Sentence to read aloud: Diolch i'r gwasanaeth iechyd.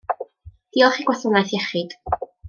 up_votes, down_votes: 1, 2